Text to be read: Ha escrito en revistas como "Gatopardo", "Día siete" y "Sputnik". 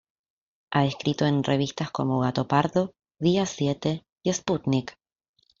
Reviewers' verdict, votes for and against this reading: accepted, 2, 0